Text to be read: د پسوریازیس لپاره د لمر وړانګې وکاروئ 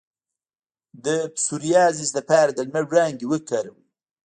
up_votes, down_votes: 1, 2